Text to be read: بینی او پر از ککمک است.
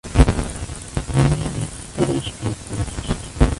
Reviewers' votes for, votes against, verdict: 0, 2, rejected